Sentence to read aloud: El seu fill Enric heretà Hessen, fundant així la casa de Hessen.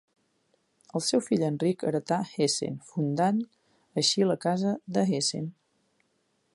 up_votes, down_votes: 3, 0